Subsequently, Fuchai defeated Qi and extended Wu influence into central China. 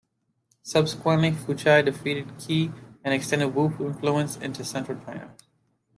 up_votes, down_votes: 2, 0